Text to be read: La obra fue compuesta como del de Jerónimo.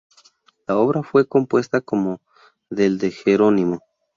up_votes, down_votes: 2, 0